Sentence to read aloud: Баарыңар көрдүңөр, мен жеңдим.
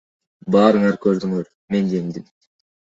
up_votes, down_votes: 2, 1